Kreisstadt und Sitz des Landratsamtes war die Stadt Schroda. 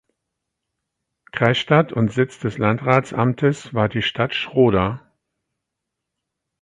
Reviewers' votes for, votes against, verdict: 4, 0, accepted